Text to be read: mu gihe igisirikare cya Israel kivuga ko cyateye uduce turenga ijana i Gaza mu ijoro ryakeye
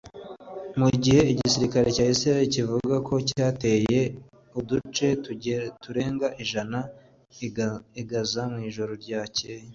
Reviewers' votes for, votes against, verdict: 0, 2, rejected